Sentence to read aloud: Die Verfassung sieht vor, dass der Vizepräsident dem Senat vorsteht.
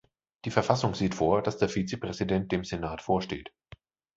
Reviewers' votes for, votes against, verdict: 2, 0, accepted